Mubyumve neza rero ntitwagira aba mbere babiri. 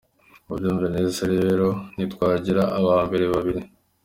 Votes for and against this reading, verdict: 3, 0, accepted